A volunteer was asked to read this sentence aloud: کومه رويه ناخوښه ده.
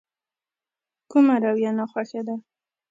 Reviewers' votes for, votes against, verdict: 2, 0, accepted